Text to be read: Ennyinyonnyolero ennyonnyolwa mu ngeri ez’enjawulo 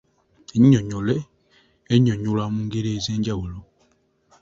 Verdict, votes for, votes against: rejected, 0, 2